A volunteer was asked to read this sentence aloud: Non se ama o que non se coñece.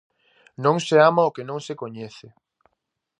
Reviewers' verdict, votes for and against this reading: accepted, 2, 0